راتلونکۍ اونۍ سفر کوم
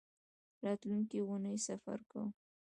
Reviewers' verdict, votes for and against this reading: accepted, 2, 0